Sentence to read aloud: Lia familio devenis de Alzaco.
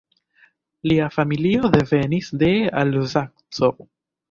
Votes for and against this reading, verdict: 1, 2, rejected